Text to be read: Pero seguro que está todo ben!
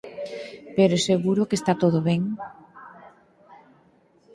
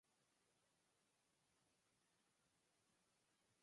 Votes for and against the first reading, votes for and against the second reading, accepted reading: 4, 0, 0, 2, first